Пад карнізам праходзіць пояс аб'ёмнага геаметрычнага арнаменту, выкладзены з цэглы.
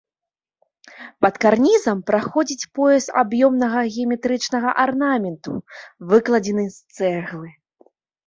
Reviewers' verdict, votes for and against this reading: accepted, 2, 0